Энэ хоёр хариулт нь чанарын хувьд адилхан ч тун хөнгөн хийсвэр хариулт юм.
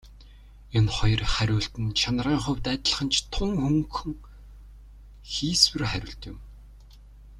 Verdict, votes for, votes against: rejected, 1, 2